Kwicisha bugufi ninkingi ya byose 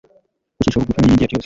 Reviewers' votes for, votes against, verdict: 1, 2, rejected